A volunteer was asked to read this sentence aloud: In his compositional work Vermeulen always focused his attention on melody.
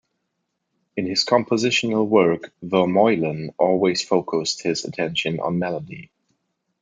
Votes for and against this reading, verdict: 2, 0, accepted